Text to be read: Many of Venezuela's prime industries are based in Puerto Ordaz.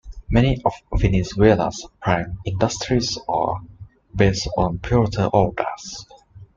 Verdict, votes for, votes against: rejected, 1, 3